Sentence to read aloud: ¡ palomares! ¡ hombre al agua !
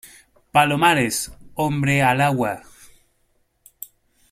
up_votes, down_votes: 2, 0